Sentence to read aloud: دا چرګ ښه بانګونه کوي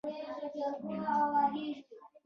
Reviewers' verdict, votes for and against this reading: rejected, 1, 2